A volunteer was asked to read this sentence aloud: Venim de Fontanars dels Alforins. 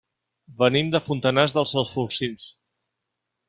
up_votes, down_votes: 0, 2